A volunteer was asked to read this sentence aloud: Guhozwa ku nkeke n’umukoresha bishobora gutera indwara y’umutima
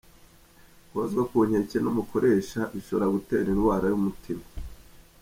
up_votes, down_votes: 2, 0